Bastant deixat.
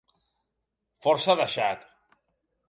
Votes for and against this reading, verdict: 0, 3, rejected